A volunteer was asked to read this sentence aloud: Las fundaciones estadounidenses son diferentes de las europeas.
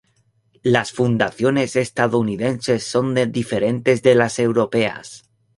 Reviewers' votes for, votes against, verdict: 2, 2, rejected